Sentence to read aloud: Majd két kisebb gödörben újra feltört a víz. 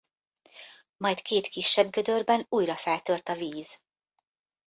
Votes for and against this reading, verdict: 2, 0, accepted